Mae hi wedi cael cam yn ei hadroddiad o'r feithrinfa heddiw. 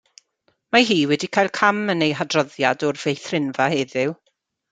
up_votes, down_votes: 2, 1